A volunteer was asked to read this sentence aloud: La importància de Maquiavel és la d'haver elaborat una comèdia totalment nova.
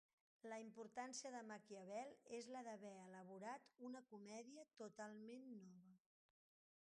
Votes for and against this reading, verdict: 1, 2, rejected